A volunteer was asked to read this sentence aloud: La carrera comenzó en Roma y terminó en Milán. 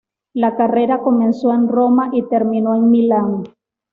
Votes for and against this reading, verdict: 2, 0, accepted